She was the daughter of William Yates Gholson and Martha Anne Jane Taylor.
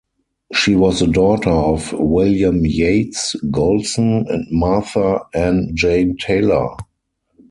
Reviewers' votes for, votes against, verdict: 2, 4, rejected